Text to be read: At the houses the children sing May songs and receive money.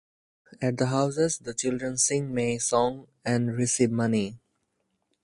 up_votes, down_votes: 4, 2